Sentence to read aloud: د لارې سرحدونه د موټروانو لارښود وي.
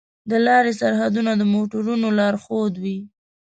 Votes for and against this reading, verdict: 1, 2, rejected